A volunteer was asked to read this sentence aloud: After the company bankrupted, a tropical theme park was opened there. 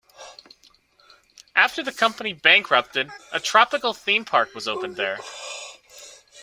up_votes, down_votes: 2, 0